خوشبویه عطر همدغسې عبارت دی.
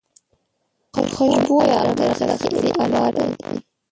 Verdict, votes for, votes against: rejected, 0, 2